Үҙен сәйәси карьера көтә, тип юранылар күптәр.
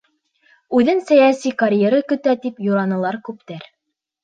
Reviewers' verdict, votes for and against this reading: rejected, 1, 2